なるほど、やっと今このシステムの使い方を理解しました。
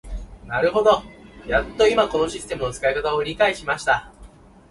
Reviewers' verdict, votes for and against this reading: accepted, 2, 0